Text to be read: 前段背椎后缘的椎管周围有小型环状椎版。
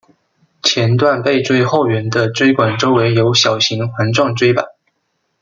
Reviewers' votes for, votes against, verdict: 2, 0, accepted